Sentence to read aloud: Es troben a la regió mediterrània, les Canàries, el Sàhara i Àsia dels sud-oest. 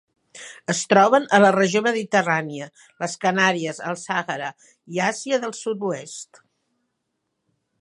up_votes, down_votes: 4, 0